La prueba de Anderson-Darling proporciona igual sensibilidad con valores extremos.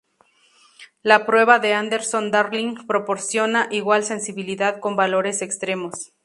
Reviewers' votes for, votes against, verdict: 2, 0, accepted